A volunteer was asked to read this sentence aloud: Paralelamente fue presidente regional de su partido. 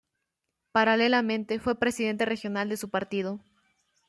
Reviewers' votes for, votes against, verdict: 2, 0, accepted